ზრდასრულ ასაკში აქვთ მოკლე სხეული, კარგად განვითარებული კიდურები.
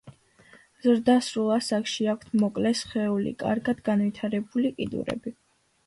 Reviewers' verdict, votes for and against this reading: accepted, 2, 0